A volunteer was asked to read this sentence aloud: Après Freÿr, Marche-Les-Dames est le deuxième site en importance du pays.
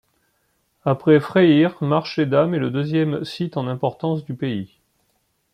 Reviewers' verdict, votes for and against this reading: rejected, 0, 2